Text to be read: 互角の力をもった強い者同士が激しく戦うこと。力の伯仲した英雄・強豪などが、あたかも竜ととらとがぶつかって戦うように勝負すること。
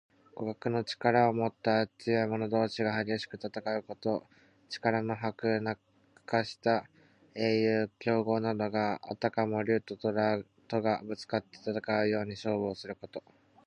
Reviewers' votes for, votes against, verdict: 2, 1, accepted